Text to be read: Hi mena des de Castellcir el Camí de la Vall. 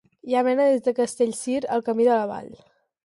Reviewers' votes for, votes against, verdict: 0, 2, rejected